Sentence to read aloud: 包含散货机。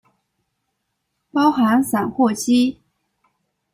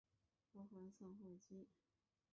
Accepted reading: first